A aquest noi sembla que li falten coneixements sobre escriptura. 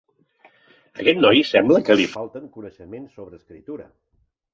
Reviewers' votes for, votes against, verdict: 0, 2, rejected